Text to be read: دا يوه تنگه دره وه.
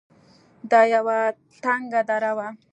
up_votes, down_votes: 2, 0